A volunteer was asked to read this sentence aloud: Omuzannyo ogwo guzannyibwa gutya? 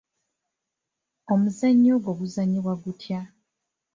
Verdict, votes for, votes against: accepted, 2, 0